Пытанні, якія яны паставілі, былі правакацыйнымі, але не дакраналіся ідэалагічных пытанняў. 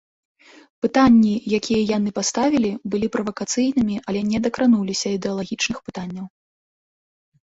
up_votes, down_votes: 0, 2